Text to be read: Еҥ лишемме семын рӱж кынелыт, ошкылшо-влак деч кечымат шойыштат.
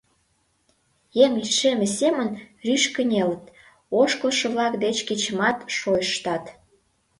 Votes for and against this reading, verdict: 2, 0, accepted